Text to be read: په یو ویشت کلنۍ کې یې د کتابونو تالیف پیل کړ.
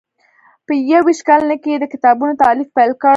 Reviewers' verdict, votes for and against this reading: rejected, 0, 2